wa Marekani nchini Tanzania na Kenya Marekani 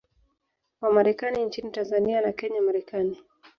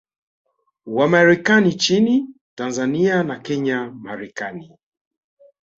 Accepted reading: second